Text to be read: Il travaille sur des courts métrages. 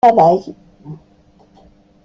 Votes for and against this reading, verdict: 0, 2, rejected